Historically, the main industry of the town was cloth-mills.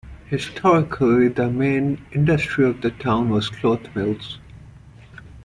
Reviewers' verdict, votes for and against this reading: accepted, 2, 0